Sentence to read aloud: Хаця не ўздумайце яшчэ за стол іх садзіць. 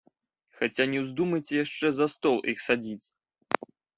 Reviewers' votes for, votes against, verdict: 2, 0, accepted